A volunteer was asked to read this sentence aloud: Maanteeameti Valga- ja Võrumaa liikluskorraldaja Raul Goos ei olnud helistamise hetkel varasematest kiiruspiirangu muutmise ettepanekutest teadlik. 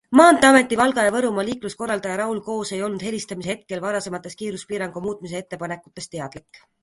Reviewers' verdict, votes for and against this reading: accepted, 2, 0